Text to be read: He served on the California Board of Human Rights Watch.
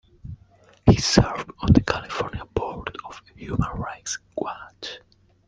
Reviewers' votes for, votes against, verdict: 2, 1, accepted